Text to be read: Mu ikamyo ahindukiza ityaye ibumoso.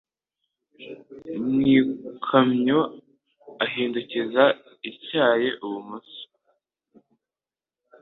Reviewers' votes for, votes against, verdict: 2, 0, accepted